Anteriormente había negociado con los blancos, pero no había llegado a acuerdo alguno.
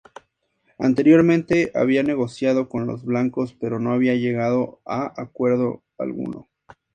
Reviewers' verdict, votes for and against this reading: accepted, 4, 0